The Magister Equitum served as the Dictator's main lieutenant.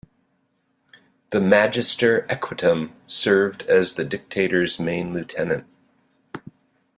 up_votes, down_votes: 2, 0